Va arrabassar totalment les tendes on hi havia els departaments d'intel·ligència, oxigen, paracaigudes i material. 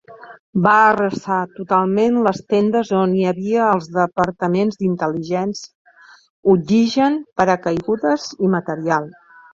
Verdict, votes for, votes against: rejected, 0, 2